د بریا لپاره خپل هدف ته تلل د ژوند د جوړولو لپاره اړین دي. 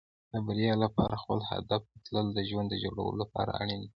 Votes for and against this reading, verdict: 1, 2, rejected